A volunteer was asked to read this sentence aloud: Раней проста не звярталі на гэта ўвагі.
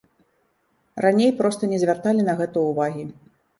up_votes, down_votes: 2, 0